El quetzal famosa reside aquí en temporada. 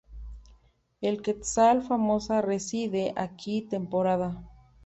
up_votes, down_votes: 2, 3